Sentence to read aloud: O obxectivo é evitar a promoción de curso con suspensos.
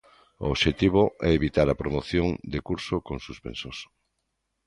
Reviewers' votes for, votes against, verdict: 2, 0, accepted